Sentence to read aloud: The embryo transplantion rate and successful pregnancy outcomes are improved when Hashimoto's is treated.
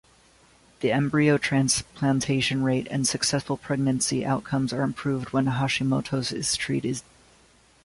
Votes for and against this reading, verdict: 1, 2, rejected